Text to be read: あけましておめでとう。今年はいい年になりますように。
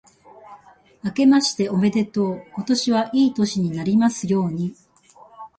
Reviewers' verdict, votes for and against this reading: accepted, 2, 0